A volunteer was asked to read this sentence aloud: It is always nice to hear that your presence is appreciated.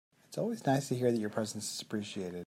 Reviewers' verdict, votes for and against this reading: accepted, 2, 1